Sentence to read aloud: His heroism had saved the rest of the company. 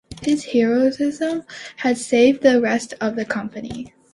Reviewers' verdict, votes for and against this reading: accepted, 2, 1